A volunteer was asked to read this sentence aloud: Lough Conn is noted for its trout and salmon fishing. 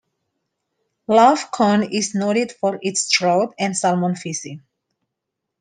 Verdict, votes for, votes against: accepted, 2, 0